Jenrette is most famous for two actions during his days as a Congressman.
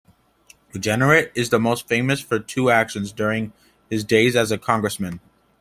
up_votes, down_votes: 2, 1